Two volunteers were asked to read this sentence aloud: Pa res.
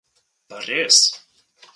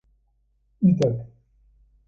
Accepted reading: first